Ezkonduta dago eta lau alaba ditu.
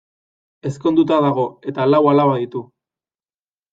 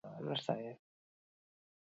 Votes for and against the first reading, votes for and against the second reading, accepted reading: 2, 0, 0, 6, first